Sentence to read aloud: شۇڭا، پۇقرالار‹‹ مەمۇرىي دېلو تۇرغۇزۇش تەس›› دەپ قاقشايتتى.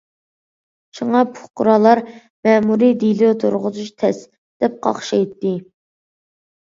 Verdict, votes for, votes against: accepted, 2, 0